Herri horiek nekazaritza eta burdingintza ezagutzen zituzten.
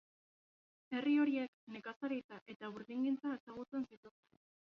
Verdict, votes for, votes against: rejected, 0, 2